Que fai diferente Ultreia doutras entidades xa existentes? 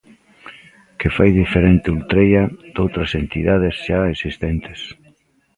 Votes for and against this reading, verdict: 2, 0, accepted